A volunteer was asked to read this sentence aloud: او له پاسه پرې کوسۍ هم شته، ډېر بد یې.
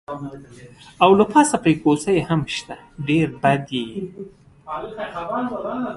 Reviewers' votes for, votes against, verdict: 2, 0, accepted